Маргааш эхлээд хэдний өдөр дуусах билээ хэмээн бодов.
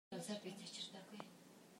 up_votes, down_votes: 0, 2